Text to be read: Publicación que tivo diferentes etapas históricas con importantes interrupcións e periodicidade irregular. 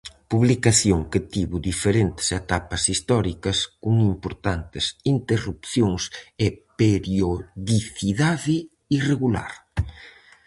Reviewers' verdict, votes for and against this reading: accepted, 4, 0